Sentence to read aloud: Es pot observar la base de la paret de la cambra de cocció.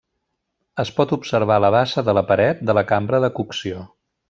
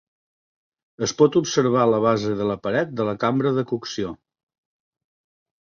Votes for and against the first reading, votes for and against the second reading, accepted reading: 1, 2, 2, 0, second